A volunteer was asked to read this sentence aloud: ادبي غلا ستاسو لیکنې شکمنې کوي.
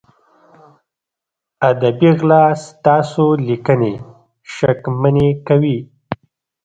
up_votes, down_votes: 1, 2